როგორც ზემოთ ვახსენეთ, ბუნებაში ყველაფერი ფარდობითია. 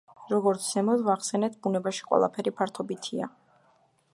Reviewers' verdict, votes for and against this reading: rejected, 1, 2